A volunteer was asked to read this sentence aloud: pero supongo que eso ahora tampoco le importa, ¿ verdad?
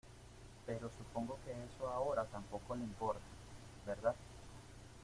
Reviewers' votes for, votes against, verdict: 2, 0, accepted